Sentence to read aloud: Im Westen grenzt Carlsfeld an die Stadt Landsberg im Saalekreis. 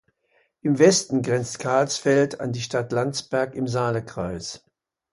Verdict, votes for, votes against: accepted, 2, 0